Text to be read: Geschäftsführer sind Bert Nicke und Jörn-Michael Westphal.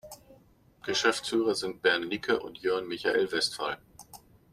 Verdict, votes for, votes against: rejected, 1, 2